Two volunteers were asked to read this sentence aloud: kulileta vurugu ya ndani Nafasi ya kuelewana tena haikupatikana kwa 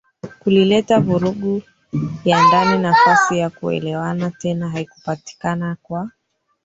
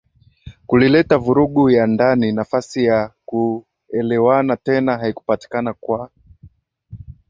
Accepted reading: second